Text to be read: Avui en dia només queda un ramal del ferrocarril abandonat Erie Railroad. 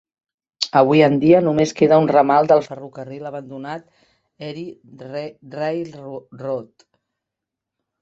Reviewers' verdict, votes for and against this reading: rejected, 1, 2